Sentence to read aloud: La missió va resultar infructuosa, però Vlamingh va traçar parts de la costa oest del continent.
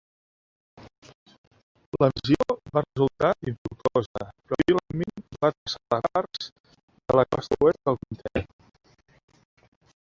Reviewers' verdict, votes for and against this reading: rejected, 0, 3